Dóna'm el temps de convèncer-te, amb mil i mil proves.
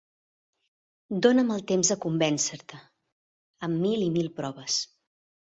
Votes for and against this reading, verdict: 3, 1, accepted